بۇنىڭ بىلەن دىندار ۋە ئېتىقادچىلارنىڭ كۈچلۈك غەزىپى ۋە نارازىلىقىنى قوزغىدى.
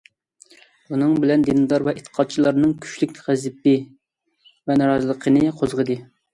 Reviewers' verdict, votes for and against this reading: rejected, 0, 2